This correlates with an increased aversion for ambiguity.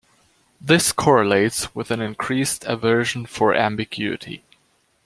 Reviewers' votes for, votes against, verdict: 2, 1, accepted